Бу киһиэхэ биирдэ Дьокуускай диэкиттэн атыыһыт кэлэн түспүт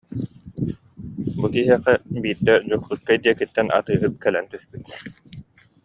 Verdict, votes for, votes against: accepted, 2, 0